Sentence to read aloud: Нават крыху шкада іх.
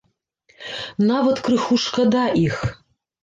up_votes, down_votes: 1, 2